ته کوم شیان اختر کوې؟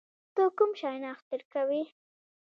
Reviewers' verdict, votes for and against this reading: rejected, 1, 2